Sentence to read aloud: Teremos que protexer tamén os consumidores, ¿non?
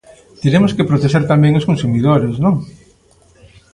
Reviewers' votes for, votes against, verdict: 2, 0, accepted